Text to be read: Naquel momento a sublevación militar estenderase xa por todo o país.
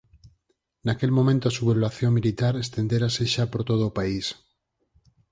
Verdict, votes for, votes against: rejected, 2, 4